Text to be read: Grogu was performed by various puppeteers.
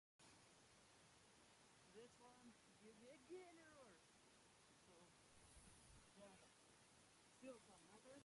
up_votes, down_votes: 0, 2